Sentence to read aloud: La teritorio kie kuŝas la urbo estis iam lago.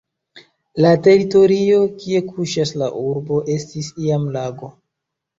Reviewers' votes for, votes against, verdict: 2, 0, accepted